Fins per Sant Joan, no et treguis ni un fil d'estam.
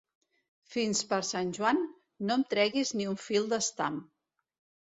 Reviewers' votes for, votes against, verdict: 0, 2, rejected